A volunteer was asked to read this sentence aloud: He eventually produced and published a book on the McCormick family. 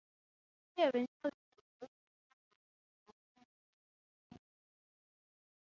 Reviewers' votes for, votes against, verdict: 0, 6, rejected